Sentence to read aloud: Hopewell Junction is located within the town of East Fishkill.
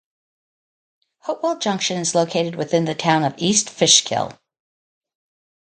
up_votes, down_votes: 2, 0